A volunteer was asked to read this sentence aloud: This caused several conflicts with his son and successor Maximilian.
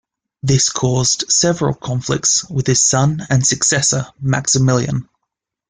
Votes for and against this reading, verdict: 2, 0, accepted